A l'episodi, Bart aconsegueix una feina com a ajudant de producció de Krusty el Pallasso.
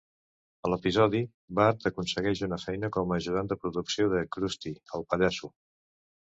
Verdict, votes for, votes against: accepted, 2, 0